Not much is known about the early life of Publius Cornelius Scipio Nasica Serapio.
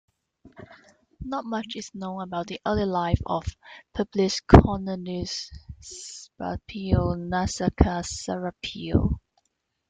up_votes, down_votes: 1, 2